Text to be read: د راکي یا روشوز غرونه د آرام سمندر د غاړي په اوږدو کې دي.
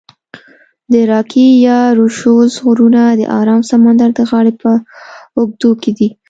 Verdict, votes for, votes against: rejected, 0, 2